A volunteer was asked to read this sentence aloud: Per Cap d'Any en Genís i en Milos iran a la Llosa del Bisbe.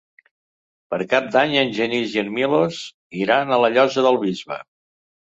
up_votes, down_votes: 3, 0